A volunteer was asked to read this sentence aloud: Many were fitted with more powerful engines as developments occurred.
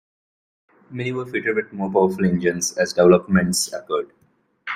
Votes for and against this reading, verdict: 0, 2, rejected